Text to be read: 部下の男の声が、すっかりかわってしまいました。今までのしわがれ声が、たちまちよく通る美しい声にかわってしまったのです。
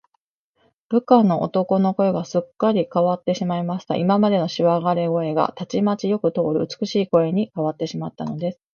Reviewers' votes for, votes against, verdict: 2, 0, accepted